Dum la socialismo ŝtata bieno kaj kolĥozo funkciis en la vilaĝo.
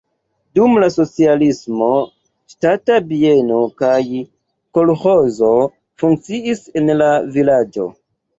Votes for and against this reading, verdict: 2, 0, accepted